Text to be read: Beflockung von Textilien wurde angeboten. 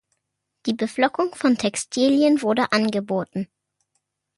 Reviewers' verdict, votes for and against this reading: rejected, 0, 2